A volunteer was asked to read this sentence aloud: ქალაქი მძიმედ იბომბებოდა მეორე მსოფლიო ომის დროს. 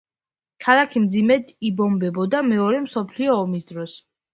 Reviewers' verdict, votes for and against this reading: accepted, 2, 0